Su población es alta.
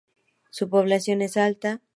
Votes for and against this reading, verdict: 2, 0, accepted